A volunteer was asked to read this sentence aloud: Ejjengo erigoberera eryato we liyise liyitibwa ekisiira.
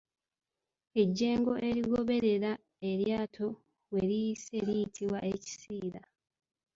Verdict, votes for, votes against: rejected, 1, 2